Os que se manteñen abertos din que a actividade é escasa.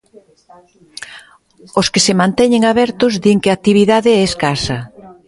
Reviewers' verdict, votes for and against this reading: rejected, 0, 2